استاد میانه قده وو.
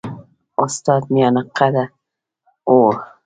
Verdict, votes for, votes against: rejected, 1, 2